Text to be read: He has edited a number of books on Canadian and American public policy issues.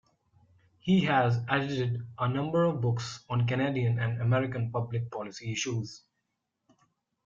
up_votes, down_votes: 2, 0